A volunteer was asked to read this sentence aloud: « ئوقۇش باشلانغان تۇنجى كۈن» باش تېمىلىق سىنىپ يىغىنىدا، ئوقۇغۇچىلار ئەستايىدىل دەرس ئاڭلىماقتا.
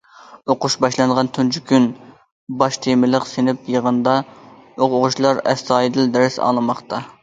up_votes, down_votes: 2, 0